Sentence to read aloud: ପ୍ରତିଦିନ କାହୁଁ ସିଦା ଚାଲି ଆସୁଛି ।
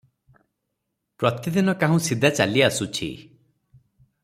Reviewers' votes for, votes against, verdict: 3, 0, accepted